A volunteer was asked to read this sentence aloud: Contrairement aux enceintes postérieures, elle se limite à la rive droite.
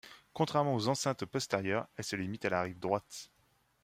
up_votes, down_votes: 2, 0